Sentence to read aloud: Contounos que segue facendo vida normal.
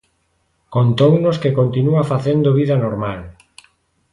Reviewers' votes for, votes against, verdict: 0, 2, rejected